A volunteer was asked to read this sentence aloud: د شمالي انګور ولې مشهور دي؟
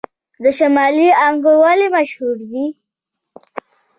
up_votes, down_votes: 2, 0